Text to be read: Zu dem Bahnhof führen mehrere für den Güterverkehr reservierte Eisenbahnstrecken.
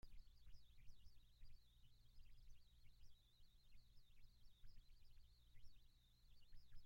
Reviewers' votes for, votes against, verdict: 0, 2, rejected